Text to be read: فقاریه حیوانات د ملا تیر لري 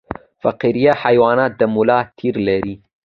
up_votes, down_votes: 2, 0